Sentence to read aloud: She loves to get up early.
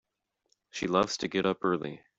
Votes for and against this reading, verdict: 2, 0, accepted